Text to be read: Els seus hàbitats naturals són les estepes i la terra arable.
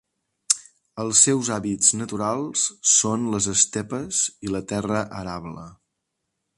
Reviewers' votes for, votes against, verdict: 1, 2, rejected